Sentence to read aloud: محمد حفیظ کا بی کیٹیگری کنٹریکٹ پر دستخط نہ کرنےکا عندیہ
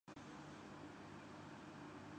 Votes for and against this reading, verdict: 0, 2, rejected